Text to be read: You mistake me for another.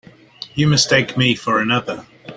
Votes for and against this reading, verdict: 2, 0, accepted